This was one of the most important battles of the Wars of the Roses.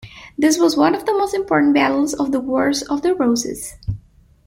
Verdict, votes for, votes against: accepted, 2, 0